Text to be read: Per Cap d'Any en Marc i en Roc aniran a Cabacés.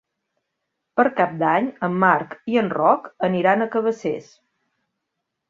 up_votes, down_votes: 2, 0